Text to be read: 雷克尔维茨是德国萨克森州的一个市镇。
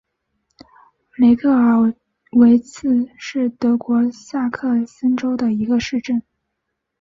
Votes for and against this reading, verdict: 4, 1, accepted